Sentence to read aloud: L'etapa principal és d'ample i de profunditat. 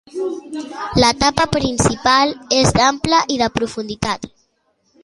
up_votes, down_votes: 2, 0